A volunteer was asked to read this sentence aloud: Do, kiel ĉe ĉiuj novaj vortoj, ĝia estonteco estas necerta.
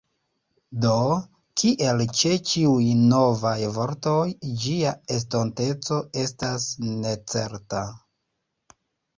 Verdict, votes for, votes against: accepted, 2, 0